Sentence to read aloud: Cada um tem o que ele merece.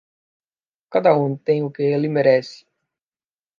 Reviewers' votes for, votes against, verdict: 2, 0, accepted